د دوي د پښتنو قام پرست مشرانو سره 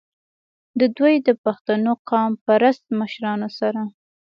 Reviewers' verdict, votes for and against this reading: accepted, 2, 0